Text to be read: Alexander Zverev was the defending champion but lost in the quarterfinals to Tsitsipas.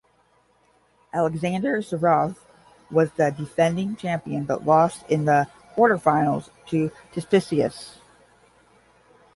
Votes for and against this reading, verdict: 0, 5, rejected